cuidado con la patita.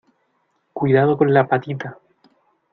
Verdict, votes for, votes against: accepted, 2, 0